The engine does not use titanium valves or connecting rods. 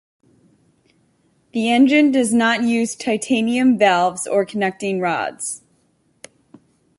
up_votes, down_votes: 2, 0